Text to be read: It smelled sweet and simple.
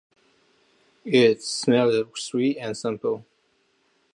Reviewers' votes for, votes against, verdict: 0, 2, rejected